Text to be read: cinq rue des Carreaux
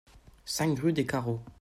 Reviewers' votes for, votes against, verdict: 2, 0, accepted